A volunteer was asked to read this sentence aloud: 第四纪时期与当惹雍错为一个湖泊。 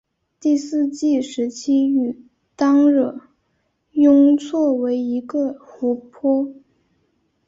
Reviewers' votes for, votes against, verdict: 8, 0, accepted